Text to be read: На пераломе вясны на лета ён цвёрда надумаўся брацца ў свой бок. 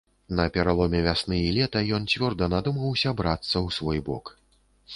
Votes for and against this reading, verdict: 0, 2, rejected